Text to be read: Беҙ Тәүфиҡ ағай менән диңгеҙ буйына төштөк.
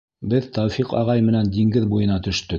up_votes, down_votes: 2, 0